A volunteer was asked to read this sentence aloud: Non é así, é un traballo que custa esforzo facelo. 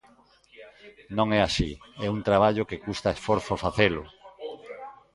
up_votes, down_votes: 2, 0